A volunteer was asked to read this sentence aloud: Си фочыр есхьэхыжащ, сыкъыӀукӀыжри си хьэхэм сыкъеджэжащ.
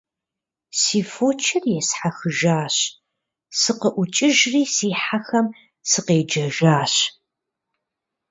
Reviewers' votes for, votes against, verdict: 2, 0, accepted